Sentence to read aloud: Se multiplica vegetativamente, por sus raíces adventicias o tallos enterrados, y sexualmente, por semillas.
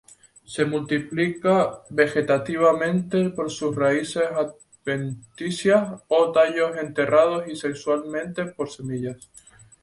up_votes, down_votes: 2, 0